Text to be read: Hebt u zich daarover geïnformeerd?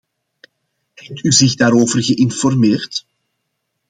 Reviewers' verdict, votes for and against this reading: rejected, 1, 2